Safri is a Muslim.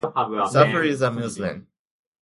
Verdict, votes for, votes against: rejected, 0, 2